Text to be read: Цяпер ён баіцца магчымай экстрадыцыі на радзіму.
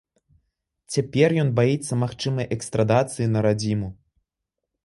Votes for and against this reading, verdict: 0, 3, rejected